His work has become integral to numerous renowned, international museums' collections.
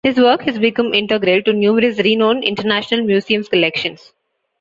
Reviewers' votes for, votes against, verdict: 2, 0, accepted